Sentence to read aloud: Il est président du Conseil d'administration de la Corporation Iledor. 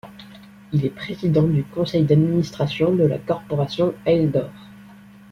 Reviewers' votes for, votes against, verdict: 0, 2, rejected